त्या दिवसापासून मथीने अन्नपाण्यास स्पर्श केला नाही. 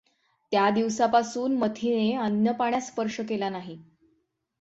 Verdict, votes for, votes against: accepted, 6, 0